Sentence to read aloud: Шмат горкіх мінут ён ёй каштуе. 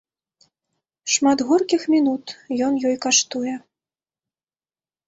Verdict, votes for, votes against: accepted, 2, 0